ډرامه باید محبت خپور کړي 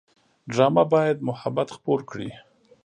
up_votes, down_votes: 0, 2